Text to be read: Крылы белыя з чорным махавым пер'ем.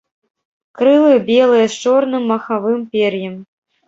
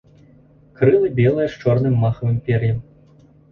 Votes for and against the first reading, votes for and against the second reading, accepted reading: 1, 2, 3, 0, second